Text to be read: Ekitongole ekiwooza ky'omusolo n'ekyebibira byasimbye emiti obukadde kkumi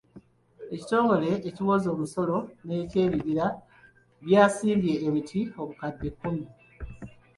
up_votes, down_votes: 1, 2